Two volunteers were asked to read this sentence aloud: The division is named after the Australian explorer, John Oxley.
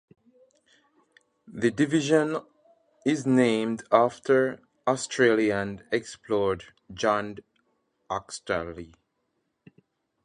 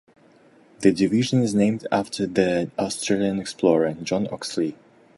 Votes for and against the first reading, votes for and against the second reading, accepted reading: 0, 2, 2, 0, second